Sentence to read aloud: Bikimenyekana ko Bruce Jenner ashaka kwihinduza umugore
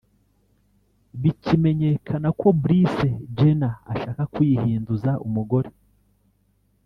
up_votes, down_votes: 2, 3